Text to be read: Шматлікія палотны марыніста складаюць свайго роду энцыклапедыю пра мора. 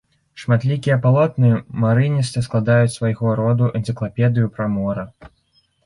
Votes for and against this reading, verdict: 3, 4, rejected